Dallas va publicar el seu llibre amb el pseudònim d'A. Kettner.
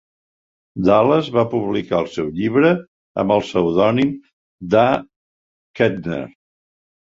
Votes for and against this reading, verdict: 4, 0, accepted